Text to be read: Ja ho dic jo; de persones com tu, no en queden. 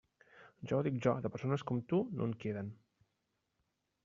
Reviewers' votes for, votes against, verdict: 1, 2, rejected